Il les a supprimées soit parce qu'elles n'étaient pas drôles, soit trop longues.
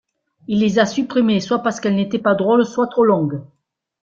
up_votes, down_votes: 2, 0